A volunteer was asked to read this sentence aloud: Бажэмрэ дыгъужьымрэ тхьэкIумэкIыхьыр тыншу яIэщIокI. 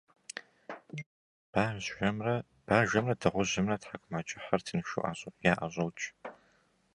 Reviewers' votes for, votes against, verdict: 0, 2, rejected